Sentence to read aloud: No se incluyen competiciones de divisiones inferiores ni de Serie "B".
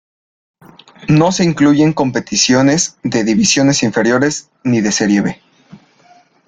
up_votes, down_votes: 2, 0